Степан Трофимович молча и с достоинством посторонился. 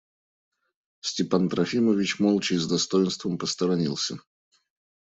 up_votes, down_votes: 2, 0